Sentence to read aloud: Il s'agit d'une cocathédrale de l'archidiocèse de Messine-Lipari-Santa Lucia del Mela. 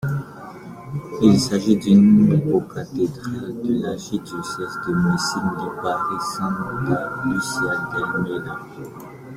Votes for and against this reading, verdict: 0, 2, rejected